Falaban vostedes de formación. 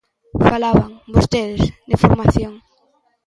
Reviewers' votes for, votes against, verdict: 1, 2, rejected